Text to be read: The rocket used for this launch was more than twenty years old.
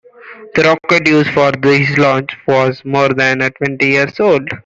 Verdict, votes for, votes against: accepted, 2, 0